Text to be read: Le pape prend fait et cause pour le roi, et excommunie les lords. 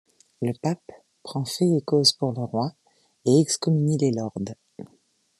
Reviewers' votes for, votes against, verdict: 2, 0, accepted